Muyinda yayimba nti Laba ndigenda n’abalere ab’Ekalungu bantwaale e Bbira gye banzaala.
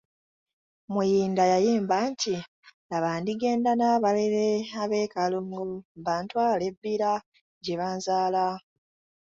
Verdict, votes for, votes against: rejected, 1, 2